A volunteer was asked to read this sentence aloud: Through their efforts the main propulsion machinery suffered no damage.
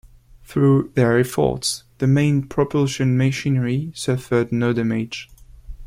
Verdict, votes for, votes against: accepted, 2, 0